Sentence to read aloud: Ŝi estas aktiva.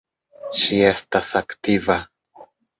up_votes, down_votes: 2, 0